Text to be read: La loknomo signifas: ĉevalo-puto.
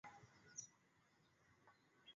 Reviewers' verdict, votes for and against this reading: rejected, 1, 2